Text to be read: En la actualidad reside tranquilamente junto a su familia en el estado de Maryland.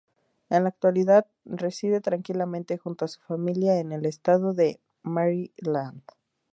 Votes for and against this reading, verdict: 2, 0, accepted